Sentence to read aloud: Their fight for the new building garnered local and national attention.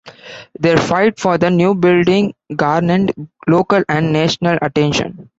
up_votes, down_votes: 2, 0